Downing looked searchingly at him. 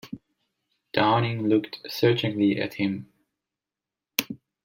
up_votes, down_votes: 2, 0